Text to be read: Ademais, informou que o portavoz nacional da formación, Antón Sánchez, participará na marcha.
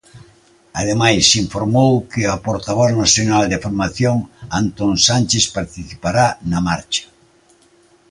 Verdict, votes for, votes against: accepted, 2, 0